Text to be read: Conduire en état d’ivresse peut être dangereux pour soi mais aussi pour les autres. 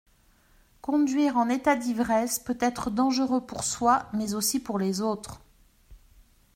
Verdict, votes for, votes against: accepted, 2, 0